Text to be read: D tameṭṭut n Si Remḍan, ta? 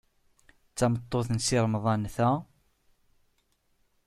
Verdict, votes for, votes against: accepted, 2, 0